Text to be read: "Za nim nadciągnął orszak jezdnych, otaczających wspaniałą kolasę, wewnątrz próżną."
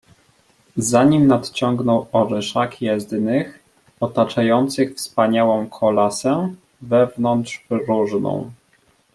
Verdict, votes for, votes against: rejected, 0, 2